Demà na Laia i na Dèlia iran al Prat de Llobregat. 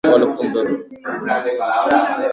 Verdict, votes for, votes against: rejected, 0, 2